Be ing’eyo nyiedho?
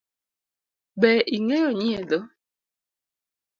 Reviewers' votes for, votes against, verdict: 2, 0, accepted